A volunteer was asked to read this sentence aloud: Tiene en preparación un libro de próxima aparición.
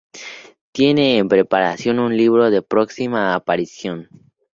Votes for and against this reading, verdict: 2, 2, rejected